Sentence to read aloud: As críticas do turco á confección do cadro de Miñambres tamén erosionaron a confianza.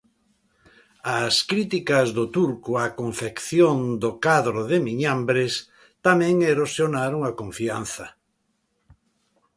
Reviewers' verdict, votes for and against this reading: accepted, 2, 0